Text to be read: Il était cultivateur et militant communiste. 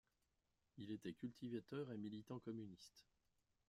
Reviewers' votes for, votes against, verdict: 1, 2, rejected